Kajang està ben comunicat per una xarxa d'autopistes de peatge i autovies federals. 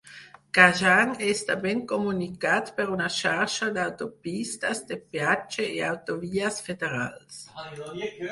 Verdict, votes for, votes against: rejected, 2, 4